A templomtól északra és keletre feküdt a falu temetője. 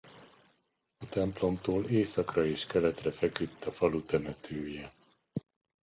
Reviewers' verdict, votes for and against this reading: accepted, 2, 0